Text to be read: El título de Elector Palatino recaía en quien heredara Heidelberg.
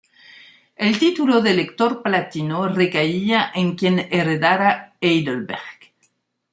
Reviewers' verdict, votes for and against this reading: accepted, 2, 0